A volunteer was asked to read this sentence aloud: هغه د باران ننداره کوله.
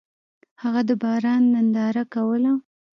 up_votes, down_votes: 2, 0